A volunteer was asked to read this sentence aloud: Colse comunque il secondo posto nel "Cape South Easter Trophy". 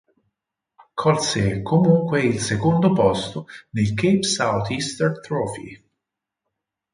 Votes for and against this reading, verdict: 4, 0, accepted